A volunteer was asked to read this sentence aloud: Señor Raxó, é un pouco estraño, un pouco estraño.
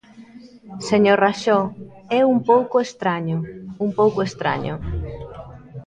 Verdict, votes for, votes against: rejected, 0, 2